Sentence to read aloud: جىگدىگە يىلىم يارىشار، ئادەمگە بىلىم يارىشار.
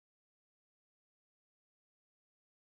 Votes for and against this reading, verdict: 0, 2, rejected